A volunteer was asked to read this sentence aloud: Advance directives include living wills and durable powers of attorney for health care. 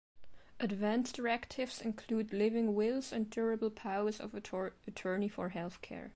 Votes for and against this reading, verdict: 2, 0, accepted